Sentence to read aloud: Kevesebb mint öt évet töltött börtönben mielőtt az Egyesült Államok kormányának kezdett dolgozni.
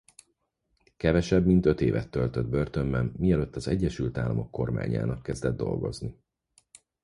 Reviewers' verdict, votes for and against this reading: accepted, 4, 0